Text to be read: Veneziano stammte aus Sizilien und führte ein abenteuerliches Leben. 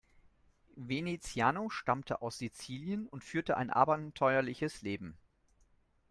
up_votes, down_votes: 0, 2